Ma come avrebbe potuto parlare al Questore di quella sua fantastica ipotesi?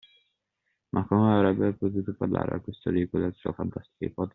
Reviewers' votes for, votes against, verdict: 2, 0, accepted